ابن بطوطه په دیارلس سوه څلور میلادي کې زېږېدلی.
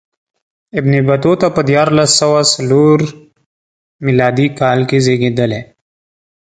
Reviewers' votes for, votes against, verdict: 1, 2, rejected